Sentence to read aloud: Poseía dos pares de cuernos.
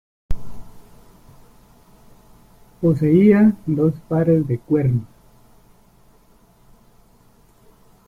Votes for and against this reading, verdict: 1, 2, rejected